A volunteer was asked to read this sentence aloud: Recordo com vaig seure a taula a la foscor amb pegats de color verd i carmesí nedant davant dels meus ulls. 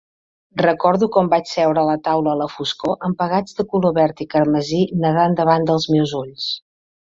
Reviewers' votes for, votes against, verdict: 2, 1, accepted